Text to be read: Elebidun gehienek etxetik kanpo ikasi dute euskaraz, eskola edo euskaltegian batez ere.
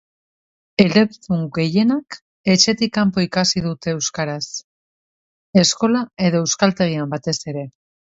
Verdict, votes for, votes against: rejected, 1, 2